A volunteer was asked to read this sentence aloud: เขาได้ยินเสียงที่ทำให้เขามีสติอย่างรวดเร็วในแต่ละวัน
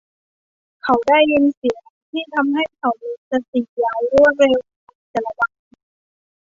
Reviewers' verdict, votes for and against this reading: rejected, 0, 2